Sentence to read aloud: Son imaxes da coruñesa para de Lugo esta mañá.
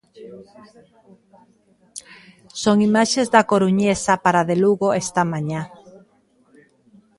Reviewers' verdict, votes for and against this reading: rejected, 0, 2